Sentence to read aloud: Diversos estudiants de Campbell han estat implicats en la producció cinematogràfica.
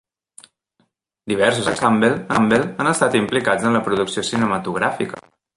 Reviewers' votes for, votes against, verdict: 0, 2, rejected